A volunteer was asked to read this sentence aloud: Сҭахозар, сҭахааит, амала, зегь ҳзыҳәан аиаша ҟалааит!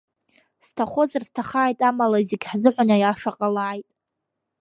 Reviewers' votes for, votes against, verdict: 2, 0, accepted